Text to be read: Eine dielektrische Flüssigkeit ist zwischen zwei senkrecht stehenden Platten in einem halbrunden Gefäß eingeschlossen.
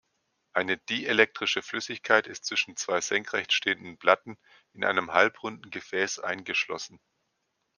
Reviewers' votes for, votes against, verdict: 2, 0, accepted